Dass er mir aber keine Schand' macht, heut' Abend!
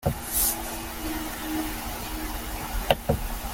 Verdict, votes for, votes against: rejected, 0, 2